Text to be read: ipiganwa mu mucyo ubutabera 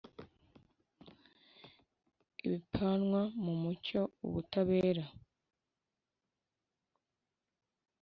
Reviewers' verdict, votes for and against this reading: rejected, 0, 2